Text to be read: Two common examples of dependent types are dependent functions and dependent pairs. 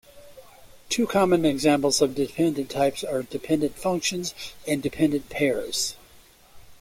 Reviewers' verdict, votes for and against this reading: accepted, 2, 0